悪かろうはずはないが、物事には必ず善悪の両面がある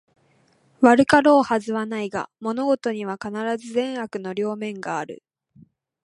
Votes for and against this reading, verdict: 2, 0, accepted